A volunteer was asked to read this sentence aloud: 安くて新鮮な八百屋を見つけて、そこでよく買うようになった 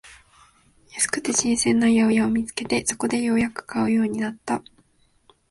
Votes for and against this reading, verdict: 0, 2, rejected